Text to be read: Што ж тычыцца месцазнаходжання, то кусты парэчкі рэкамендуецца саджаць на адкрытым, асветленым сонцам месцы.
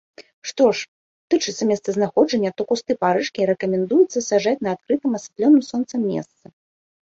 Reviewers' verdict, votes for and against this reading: rejected, 0, 2